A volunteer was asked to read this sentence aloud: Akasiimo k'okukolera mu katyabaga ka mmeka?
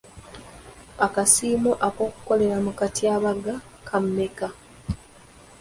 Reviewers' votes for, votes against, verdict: 2, 0, accepted